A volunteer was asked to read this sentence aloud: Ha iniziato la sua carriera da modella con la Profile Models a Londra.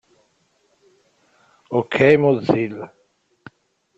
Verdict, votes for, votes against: rejected, 0, 2